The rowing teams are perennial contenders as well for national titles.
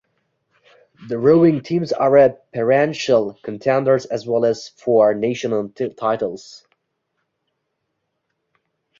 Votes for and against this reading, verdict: 0, 2, rejected